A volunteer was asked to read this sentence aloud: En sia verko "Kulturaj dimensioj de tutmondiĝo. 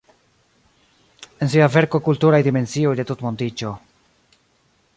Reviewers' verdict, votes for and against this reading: rejected, 1, 2